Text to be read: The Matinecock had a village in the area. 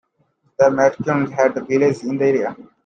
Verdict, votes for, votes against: rejected, 0, 2